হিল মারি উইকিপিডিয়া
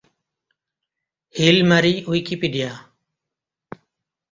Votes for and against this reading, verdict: 2, 0, accepted